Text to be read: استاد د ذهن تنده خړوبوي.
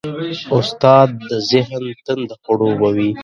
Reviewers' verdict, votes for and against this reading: rejected, 1, 3